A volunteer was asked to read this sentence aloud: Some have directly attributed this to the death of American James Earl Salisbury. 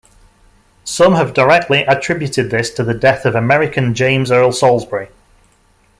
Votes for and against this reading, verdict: 2, 0, accepted